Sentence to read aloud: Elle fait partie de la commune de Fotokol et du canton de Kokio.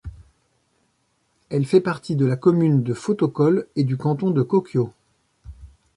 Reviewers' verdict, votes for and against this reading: accepted, 2, 0